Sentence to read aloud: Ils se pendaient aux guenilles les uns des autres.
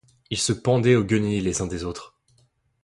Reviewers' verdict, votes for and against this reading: accepted, 2, 0